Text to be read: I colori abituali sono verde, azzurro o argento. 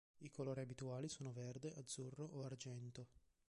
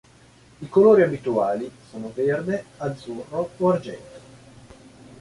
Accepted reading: second